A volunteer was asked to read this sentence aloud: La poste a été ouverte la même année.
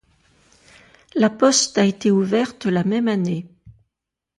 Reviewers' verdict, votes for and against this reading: accepted, 2, 0